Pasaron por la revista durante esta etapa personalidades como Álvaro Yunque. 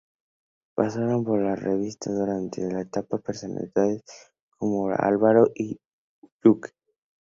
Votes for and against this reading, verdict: 2, 0, accepted